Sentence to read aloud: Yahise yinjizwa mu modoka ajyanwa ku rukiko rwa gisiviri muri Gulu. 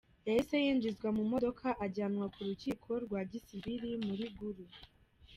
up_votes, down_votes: 1, 2